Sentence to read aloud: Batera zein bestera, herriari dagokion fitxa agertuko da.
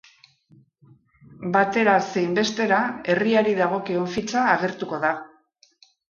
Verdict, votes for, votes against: accepted, 2, 0